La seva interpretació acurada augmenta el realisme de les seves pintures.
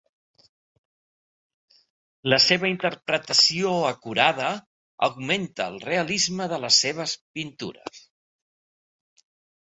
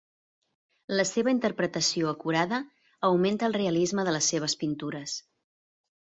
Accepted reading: second